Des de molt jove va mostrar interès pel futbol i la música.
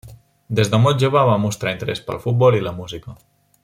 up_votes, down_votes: 0, 2